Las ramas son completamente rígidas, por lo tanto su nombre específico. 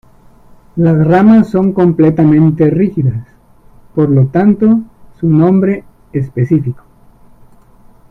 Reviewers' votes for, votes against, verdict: 2, 1, accepted